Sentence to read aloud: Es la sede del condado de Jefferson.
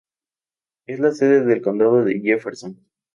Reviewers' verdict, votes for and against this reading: accepted, 2, 0